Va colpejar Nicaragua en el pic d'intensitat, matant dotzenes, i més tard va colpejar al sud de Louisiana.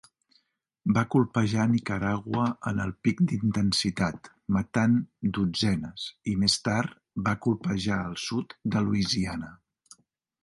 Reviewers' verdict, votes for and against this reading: accepted, 4, 0